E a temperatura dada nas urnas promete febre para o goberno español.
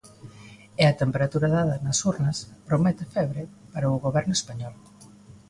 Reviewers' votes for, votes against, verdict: 2, 0, accepted